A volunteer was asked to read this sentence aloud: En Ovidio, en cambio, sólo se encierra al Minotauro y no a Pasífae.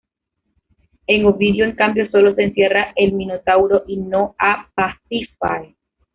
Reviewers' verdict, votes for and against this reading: rejected, 0, 2